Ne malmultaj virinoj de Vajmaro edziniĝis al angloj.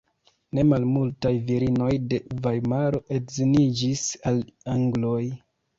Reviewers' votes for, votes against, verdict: 3, 2, accepted